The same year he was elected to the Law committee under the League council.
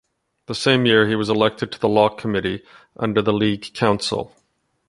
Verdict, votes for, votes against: accepted, 2, 0